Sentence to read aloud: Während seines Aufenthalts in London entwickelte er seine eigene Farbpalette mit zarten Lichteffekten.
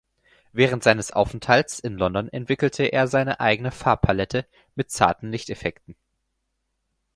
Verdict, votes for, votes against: accepted, 4, 0